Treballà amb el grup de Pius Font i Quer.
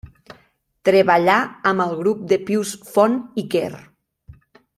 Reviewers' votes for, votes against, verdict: 2, 0, accepted